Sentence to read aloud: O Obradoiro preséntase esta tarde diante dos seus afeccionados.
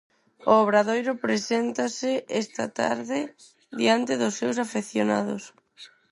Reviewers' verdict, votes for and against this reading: accepted, 6, 0